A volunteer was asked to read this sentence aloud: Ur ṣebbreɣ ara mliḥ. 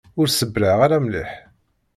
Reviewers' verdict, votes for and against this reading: rejected, 1, 2